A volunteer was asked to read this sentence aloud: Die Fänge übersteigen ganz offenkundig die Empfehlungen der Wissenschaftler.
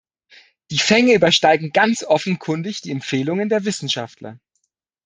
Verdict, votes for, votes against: accepted, 2, 0